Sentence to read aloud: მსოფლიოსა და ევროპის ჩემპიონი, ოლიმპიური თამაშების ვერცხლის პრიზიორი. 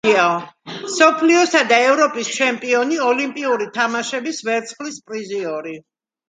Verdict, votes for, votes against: accepted, 2, 0